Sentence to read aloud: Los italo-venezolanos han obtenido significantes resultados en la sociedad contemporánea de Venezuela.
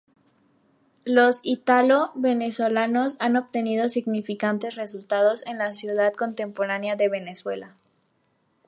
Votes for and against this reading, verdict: 0, 4, rejected